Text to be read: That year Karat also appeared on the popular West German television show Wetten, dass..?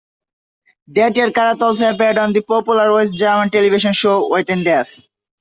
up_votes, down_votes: 2, 3